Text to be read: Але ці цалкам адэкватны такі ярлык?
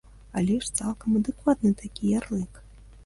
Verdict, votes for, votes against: rejected, 1, 2